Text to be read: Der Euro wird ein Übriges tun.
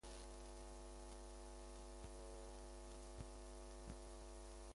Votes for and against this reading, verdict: 0, 2, rejected